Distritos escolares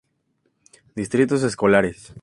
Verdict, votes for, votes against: accepted, 2, 0